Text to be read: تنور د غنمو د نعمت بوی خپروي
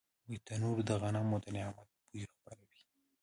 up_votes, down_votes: 1, 2